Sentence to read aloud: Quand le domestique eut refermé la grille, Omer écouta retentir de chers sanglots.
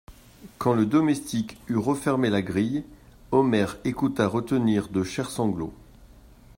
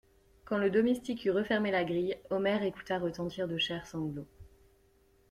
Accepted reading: second